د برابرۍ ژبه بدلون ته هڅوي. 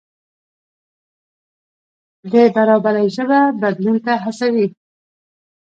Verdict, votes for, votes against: rejected, 1, 2